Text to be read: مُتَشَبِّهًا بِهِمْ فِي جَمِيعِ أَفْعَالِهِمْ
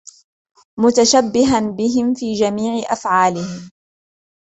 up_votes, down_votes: 1, 2